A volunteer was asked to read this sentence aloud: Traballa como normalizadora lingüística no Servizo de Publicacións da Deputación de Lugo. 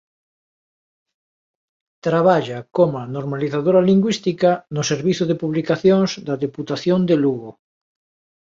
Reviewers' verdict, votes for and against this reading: rejected, 1, 2